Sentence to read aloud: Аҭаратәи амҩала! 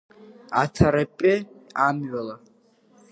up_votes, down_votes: 0, 2